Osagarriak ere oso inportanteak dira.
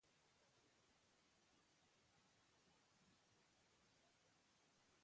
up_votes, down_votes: 0, 4